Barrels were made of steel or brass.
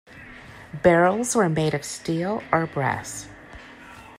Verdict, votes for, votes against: accepted, 2, 0